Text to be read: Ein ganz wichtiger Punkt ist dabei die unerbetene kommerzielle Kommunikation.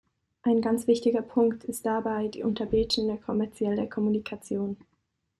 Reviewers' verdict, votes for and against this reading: rejected, 0, 2